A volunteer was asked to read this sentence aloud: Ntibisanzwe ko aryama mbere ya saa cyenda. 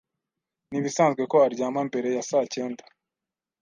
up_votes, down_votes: 2, 0